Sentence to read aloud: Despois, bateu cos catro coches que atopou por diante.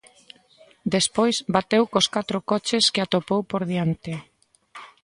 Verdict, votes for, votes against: accepted, 2, 0